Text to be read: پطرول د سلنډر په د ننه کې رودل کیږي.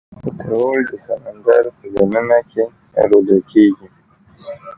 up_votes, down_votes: 1, 2